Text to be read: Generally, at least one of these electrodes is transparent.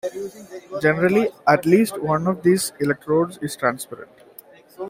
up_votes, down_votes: 0, 2